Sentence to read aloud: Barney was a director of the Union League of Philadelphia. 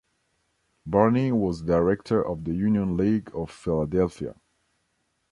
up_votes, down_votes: 1, 2